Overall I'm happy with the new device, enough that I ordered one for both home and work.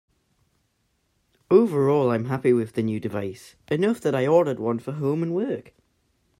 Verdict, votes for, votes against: rejected, 0, 2